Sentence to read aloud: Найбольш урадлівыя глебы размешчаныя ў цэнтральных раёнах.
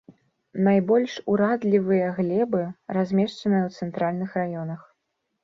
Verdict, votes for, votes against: rejected, 0, 2